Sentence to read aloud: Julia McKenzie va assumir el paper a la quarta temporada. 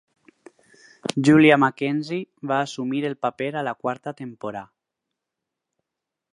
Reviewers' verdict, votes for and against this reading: rejected, 0, 4